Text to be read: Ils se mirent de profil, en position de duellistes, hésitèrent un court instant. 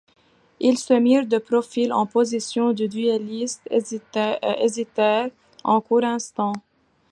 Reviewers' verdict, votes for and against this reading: accepted, 2, 1